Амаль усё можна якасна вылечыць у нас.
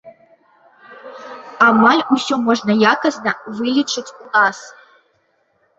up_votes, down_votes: 1, 2